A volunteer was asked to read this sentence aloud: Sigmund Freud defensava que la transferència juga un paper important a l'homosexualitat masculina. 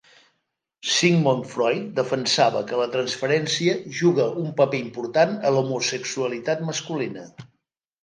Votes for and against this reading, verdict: 2, 0, accepted